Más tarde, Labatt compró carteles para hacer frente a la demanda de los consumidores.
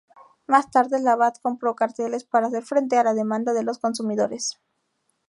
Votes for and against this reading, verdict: 2, 0, accepted